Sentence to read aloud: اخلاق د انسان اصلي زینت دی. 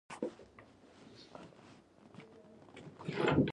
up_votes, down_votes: 0, 2